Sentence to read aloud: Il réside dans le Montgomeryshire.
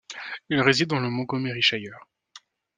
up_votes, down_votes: 2, 0